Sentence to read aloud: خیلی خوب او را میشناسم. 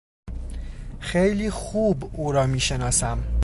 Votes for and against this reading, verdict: 2, 0, accepted